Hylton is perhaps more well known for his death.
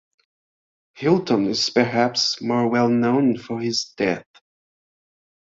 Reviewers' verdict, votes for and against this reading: accepted, 3, 0